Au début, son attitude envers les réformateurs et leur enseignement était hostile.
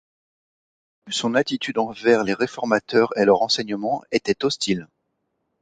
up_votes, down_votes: 1, 2